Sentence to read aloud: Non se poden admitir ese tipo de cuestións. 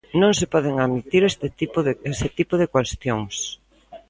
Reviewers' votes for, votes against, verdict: 0, 2, rejected